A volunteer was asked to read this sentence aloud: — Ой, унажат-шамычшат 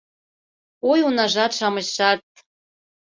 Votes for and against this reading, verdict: 2, 0, accepted